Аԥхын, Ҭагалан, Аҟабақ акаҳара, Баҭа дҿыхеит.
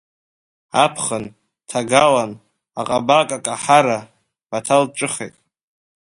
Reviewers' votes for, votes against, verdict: 1, 2, rejected